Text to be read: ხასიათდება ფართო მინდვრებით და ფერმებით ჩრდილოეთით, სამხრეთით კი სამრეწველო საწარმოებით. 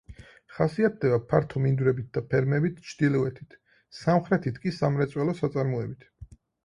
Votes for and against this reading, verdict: 4, 0, accepted